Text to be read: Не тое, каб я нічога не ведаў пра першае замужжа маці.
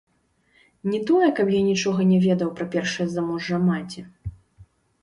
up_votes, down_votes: 2, 3